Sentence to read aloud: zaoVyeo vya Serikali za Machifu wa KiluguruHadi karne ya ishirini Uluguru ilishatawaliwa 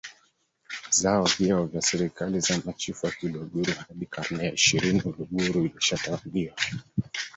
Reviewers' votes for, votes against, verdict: 0, 2, rejected